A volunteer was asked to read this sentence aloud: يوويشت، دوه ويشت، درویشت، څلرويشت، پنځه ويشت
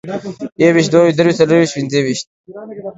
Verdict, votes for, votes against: accepted, 2, 0